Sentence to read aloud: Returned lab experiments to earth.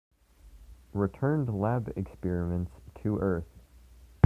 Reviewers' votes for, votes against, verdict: 2, 0, accepted